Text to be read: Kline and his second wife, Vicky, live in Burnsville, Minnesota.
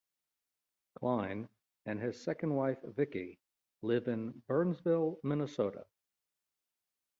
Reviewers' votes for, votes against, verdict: 2, 0, accepted